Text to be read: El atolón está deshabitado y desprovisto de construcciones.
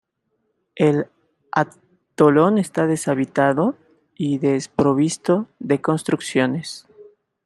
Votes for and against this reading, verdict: 0, 2, rejected